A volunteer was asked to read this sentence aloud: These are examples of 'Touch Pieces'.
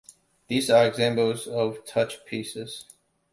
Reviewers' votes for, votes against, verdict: 2, 1, accepted